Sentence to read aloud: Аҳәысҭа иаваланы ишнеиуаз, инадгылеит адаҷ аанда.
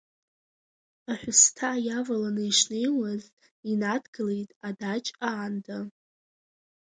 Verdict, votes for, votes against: accepted, 2, 0